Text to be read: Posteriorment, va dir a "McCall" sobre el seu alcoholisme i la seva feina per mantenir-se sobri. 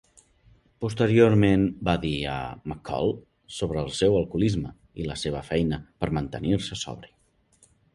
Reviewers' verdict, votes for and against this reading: accepted, 3, 0